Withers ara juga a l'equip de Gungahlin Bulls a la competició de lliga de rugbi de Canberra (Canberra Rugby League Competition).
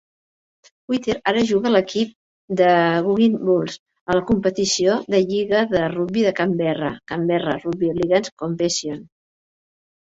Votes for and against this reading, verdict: 2, 3, rejected